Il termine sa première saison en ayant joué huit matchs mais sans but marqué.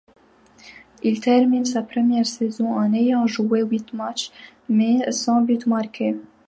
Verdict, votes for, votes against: rejected, 0, 2